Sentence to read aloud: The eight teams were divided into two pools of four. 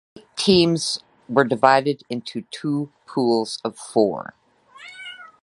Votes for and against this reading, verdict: 0, 2, rejected